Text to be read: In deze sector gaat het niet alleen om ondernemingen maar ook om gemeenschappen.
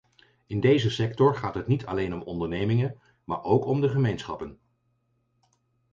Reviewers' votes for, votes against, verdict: 0, 4, rejected